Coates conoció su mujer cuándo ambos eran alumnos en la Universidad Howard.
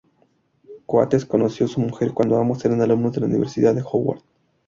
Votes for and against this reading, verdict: 2, 2, rejected